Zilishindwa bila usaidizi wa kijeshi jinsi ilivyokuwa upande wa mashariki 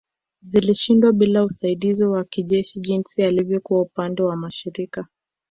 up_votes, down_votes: 0, 2